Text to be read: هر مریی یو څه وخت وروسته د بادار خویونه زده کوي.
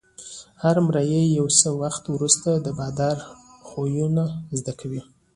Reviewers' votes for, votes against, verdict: 2, 0, accepted